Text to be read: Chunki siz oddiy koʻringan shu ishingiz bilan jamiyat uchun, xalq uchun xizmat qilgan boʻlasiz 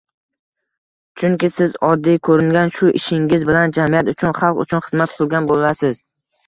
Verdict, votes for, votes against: rejected, 1, 2